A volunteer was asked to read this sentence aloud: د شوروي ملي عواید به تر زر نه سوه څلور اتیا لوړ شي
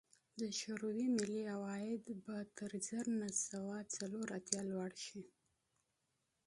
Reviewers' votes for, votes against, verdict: 3, 1, accepted